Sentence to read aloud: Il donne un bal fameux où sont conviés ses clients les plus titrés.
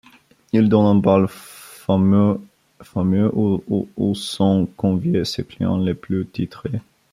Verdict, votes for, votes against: rejected, 1, 2